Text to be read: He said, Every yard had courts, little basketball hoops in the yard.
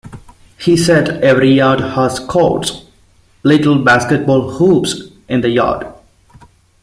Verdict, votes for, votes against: rejected, 0, 2